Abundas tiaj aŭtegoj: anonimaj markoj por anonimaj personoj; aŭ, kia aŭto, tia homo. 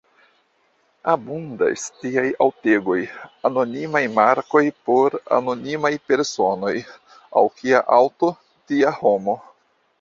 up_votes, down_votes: 1, 2